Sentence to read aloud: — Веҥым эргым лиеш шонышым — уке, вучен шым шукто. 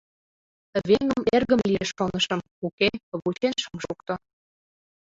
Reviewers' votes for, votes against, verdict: 2, 1, accepted